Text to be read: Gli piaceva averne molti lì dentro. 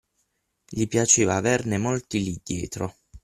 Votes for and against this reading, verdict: 0, 6, rejected